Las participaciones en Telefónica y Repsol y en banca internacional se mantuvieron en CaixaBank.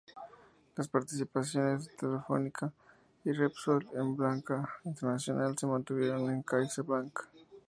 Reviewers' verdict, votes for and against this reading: accepted, 2, 0